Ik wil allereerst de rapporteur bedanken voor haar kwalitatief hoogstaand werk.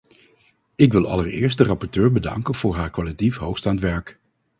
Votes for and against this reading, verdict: 0, 2, rejected